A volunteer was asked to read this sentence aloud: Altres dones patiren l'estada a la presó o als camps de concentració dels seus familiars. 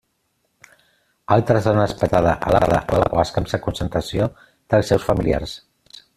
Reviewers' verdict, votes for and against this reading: rejected, 0, 2